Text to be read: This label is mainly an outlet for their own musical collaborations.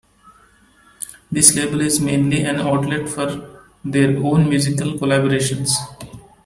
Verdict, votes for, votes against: accepted, 2, 1